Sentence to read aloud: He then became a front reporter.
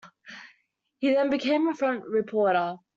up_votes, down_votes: 2, 0